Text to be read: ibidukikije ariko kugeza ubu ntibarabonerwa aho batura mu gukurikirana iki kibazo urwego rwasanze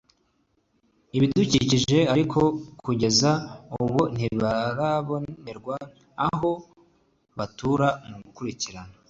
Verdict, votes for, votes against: rejected, 0, 2